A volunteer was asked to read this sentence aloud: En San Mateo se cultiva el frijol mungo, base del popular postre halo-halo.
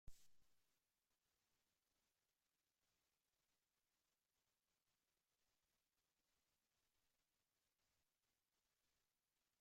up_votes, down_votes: 0, 2